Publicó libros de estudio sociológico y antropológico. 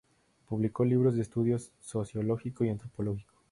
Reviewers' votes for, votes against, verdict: 2, 4, rejected